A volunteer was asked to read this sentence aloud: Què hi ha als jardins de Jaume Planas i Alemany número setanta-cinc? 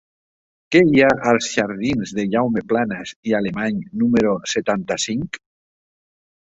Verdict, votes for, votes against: accepted, 5, 0